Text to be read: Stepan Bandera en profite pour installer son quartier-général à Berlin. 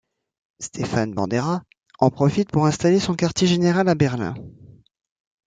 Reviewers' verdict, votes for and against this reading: rejected, 1, 2